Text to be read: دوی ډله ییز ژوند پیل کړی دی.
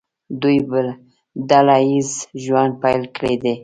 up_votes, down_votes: 2, 0